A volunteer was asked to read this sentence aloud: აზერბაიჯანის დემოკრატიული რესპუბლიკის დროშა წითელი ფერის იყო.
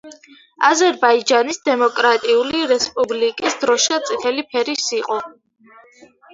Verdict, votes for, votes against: accepted, 2, 0